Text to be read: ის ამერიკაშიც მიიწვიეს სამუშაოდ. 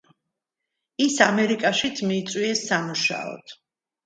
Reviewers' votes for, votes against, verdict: 2, 0, accepted